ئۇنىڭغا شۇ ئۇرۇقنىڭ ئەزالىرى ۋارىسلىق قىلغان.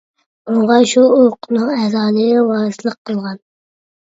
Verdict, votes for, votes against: rejected, 1, 2